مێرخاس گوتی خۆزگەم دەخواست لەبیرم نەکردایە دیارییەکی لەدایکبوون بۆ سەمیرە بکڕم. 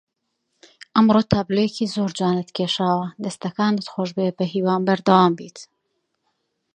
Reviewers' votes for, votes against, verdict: 0, 2, rejected